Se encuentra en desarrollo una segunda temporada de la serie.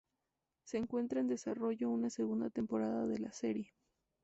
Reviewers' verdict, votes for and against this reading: accepted, 2, 0